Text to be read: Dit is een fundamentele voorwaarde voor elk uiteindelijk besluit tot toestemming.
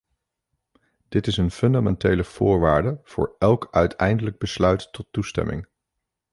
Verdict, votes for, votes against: accepted, 2, 0